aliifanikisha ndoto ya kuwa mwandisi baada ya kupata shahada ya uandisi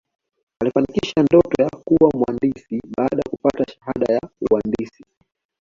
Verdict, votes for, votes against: accepted, 2, 0